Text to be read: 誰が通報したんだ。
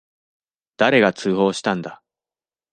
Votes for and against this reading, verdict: 2, 0, accepted